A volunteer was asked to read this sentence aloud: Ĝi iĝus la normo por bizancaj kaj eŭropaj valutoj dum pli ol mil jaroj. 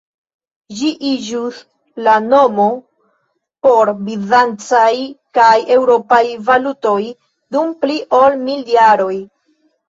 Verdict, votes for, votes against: rejected, 0, 2